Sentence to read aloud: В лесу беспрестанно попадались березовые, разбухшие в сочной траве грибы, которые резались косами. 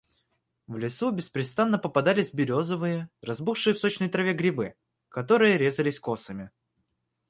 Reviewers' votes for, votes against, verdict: 2, 0, accepted